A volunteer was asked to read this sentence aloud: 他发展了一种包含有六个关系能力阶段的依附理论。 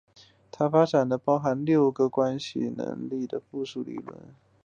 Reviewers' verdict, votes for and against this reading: accepted, 3, 0